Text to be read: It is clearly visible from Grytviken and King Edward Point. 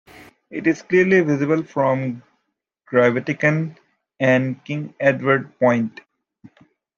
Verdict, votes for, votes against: accepted, 2, 1